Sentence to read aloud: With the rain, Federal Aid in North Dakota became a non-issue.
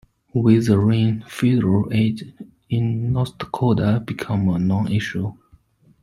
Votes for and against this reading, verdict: 0, 2, rejected